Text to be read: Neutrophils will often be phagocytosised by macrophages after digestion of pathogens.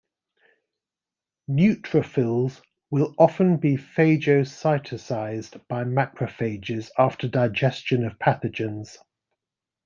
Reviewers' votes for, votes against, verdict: 1, 2, rejected